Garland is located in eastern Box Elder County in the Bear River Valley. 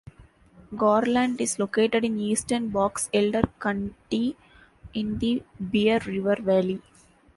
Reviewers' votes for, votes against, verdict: 2, 1, accepted